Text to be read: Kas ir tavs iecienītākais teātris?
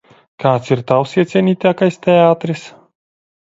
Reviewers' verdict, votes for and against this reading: rejected, 1, 2